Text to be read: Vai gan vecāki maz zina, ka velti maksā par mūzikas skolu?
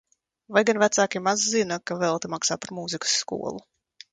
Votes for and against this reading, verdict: 2, 0, accepted